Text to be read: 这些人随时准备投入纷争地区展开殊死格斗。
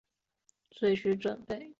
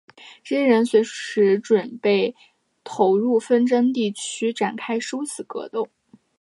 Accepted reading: second